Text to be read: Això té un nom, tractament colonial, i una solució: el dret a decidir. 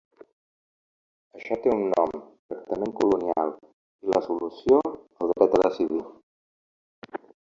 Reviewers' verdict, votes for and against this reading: rejected, 1, 2